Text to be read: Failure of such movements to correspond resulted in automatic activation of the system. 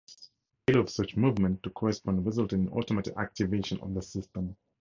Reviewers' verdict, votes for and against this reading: rejected, 0, 2